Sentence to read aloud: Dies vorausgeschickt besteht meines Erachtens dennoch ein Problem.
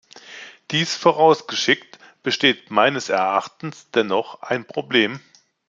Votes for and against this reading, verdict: 2, 0, accepted